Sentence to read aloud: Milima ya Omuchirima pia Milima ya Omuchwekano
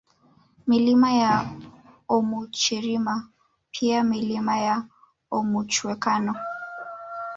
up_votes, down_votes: 0, 2